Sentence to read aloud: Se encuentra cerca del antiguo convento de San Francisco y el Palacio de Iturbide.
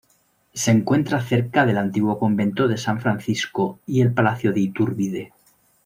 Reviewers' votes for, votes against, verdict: 2, 0, accepted